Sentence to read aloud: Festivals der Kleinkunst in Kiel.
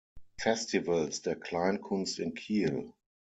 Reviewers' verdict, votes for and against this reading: accepted, 6, 0